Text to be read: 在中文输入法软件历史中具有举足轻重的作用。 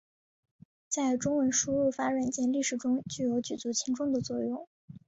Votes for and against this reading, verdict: 3, 0, accepted